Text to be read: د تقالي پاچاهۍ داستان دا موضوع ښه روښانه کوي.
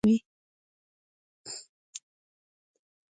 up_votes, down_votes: 0, 2